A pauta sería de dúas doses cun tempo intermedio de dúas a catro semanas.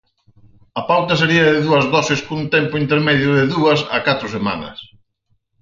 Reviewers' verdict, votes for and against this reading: accepted, 4, 0